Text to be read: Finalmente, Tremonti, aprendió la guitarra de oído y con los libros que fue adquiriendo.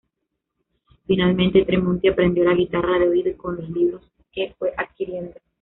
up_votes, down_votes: 2, 0